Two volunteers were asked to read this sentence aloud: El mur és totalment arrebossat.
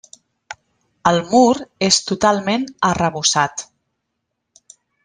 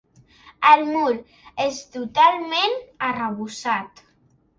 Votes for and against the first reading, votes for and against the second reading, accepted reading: 1, 2, 5, 0, second